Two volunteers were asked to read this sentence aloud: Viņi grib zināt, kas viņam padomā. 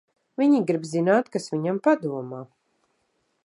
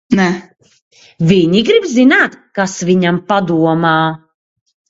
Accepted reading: first